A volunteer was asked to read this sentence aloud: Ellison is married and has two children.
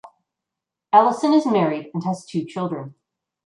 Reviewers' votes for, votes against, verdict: 3, 0, accepted